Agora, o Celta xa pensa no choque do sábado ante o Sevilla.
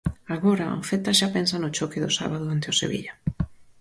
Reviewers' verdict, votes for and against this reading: accepted, 4, 0